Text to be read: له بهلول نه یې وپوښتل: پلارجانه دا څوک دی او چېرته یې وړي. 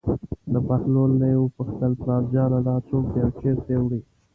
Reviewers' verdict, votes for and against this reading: accepted, 2, 0